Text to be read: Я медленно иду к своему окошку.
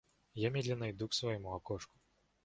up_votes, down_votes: 2, 0